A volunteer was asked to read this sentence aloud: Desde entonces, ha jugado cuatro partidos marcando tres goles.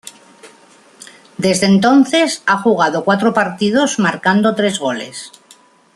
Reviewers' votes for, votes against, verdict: 2, 0, accepted